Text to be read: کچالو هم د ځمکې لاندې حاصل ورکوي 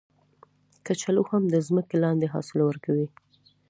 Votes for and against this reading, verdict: 2, 0, accepted